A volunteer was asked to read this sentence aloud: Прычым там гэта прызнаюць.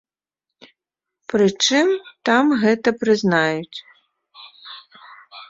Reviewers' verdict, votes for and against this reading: rejected, 1, 2